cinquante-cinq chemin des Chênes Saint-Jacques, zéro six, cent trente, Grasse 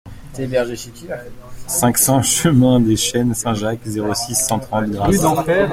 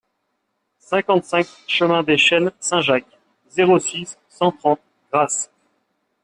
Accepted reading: second